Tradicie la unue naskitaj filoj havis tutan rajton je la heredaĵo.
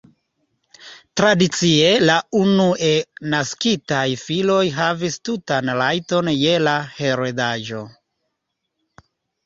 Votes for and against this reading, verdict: 1, 2, rejected